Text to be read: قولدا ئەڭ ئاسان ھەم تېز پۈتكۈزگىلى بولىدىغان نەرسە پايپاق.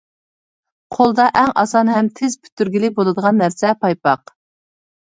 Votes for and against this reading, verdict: 1, 2, rejected